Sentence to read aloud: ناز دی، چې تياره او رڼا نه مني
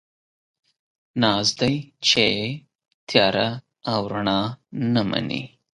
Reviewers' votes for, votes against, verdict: 11, 0, accepted